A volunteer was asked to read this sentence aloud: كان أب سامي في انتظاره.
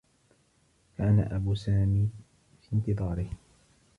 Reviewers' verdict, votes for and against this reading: accepted, 2, 0